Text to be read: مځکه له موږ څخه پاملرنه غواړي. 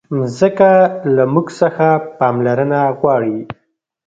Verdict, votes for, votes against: rejected, 1, 2